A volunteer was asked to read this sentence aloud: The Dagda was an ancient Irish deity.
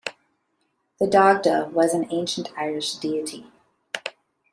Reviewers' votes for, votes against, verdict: 2, 0, accepted